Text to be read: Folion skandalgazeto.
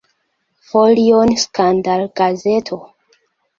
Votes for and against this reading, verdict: 2, 1, accepted